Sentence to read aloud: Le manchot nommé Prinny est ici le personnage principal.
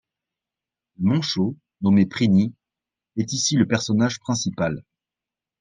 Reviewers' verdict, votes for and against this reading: rejected, 1, 2